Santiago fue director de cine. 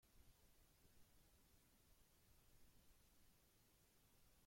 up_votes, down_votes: 0, 2